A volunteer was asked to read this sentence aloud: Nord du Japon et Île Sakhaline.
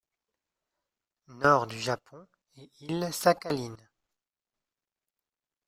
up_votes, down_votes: 1, 3